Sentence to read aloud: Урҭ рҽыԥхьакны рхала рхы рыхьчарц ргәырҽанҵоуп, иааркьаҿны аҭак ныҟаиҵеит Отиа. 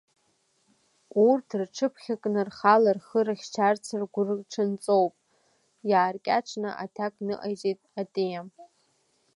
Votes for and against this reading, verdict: 2, 0, accepted